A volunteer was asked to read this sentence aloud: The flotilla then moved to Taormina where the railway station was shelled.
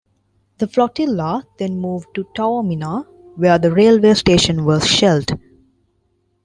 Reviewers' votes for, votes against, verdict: 2, 0, accepted